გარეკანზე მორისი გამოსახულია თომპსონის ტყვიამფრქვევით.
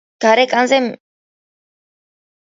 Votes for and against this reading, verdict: 0, 2, rejected